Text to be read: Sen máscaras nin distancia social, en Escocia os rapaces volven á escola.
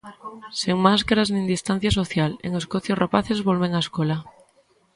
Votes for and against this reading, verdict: 0, 2, rejected